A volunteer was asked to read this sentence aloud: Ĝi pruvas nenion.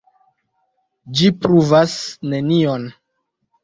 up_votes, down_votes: 2, 0